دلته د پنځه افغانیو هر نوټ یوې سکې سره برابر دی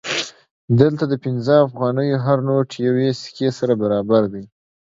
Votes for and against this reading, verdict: 2, 1, accepted